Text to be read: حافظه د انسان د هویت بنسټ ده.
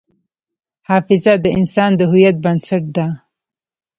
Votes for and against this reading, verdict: 0, 2, rejected